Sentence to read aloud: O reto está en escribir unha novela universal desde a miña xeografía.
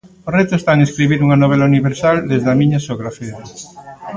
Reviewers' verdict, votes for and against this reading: accepted, 2, 1